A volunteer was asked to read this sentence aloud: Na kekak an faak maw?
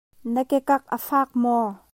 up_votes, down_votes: 2, 1